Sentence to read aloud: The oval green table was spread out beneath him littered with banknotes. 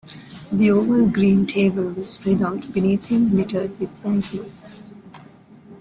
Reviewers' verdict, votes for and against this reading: rejected, 1, 2